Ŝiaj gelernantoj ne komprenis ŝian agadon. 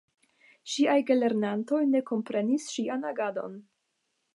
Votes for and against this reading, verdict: 5, 0, accepted